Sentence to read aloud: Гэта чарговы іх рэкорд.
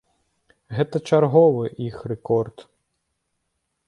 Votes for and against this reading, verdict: 2, 0, accepted